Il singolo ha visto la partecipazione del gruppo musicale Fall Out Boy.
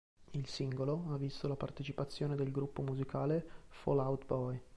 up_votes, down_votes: 2, 0